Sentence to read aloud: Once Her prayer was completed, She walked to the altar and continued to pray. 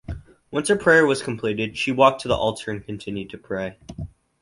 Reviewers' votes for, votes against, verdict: 2, 0, accepted